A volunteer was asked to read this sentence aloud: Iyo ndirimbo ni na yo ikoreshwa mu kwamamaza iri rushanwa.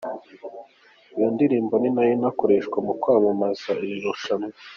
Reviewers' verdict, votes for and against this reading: accepted, 2, 0